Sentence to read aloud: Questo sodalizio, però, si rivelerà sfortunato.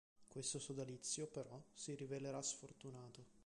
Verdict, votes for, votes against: accepted, 2, 1